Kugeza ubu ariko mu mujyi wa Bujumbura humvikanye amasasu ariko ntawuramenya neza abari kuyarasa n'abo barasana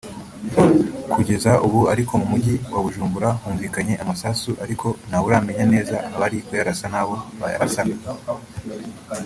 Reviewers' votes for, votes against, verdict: 1, 2, rejected